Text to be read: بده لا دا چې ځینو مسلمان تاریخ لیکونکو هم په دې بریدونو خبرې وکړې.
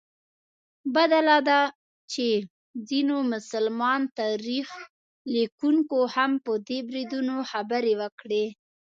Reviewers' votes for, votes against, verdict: 2, 0, accepted